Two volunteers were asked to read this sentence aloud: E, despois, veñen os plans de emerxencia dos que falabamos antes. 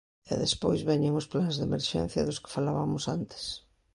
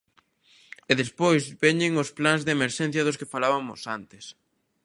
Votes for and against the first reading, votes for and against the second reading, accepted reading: 2, 0, 0, 2, first